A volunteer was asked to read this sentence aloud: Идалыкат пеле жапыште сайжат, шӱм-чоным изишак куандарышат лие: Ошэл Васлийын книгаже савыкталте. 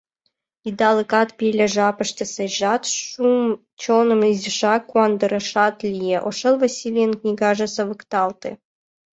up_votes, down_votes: 1, 2